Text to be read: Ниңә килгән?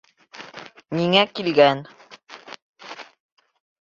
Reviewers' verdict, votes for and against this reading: accepted, 3, 0